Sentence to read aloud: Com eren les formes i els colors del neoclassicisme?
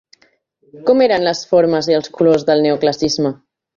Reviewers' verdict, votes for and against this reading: rejected, 0, 2